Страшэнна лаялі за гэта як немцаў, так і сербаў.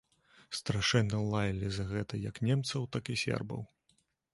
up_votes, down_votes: 2, 0